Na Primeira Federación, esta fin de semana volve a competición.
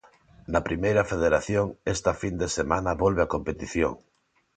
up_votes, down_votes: 2, 0